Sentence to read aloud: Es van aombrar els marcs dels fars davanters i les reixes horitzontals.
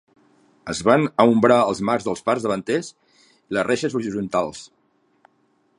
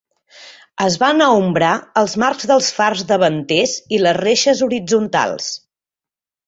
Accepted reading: second